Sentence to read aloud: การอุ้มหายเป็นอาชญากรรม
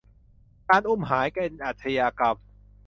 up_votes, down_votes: 2, 0